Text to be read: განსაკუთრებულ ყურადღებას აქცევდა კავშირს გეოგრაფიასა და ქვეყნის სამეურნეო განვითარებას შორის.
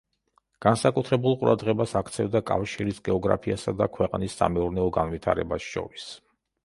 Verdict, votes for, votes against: rejected, 0, 2